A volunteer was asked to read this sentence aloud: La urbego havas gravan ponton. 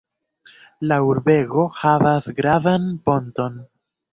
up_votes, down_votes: 2, 0